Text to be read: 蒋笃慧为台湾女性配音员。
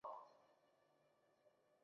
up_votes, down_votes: 1, 3